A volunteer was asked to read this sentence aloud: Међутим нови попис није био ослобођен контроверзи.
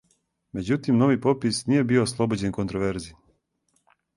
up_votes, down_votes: 4, 0